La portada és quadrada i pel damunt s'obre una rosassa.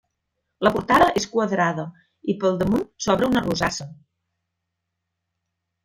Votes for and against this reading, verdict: 0, 2, rejected